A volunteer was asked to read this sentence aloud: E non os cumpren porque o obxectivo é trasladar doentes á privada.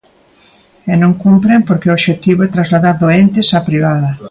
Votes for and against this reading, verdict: 0, 2, rejected